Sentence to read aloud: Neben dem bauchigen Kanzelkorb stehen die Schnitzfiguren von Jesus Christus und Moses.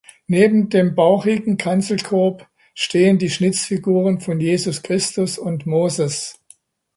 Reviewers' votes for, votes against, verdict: 2, 0, accepted